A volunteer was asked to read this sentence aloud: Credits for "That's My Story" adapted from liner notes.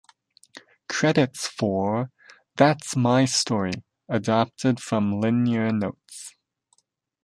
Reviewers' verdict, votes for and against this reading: rejected, 0, 2